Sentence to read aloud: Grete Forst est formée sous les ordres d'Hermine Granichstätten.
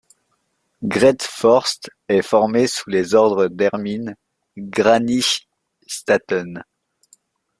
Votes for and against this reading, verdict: 1, 2, rejected